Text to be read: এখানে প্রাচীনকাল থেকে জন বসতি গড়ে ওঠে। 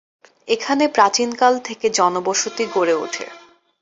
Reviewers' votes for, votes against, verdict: 2, 0, accepted